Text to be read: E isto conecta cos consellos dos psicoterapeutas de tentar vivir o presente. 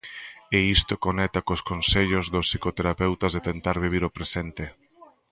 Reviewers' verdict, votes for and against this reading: rejected, 1, 2